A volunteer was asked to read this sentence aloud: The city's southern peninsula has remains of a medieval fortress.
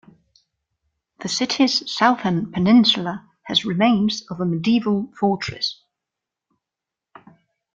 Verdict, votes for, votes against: accepted, 2, 0